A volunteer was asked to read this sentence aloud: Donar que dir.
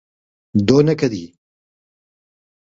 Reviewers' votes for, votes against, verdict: 0, 2, rejected